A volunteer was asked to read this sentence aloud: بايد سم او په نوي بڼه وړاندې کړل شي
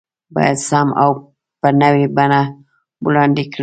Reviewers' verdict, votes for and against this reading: rejected, 0, 2